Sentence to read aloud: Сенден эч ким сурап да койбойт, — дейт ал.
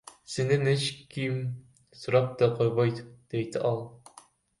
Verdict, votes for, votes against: rejected, 1, 2